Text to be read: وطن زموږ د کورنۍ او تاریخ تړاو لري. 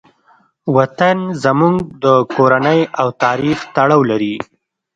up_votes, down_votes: 2, 0